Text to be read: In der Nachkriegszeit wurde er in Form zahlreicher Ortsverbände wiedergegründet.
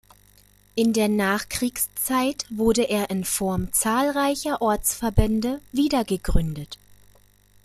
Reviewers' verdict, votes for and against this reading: accepted, 2, 0